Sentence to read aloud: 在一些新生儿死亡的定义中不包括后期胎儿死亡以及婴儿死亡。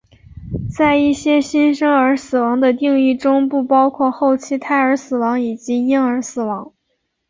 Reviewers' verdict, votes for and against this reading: accepted, 4, 0